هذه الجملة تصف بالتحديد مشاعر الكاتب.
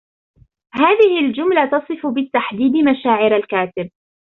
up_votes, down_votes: 0, 2